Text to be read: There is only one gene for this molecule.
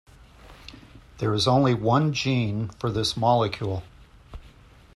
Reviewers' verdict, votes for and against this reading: accepted, 2, 0